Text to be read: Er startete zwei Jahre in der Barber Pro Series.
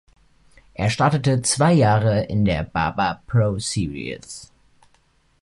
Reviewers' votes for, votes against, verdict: 3, 0, accepted